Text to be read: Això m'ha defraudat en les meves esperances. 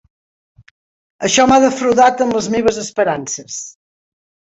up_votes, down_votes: 3, 0